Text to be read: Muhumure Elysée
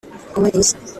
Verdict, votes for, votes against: rejected, 0, 2